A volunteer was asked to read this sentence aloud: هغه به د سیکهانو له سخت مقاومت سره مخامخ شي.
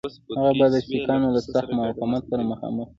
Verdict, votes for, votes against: accepted, 2, 1